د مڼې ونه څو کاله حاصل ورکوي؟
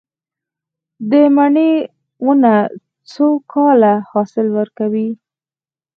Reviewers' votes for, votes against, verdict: 0, 4, rejected